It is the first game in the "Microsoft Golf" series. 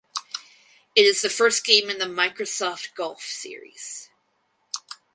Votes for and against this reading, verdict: 2, 2, rejected